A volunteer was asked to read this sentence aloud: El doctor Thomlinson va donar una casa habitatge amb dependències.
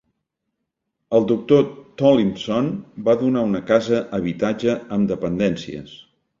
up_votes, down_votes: 0, 2